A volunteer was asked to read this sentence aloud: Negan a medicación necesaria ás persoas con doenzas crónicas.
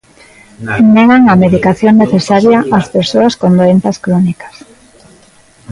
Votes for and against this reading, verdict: 0, 2, rejected